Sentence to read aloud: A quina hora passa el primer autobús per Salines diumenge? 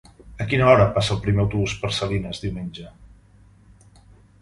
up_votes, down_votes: 3, 0